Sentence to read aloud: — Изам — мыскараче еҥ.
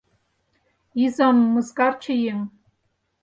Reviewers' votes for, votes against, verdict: 0, 4, rejected